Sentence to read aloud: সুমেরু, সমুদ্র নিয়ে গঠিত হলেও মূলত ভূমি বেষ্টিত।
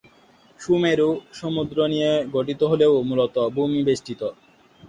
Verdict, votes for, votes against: accepted, 2, 0